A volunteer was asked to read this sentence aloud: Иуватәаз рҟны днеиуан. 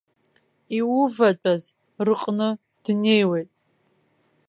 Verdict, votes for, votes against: rejected, 1, 2